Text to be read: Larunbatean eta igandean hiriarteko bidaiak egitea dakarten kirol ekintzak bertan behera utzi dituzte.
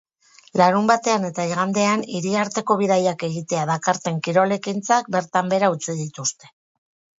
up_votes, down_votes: 6, 0